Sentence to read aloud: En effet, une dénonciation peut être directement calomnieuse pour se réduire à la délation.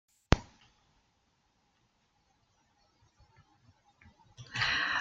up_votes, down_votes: 0, 2